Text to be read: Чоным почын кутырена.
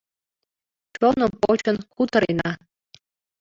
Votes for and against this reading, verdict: 2, 0, accepted